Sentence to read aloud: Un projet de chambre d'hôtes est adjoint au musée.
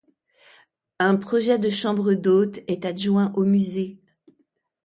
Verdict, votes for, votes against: accepted, 2, 0